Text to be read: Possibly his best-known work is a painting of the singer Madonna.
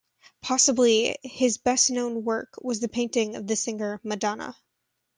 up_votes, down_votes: 0, 2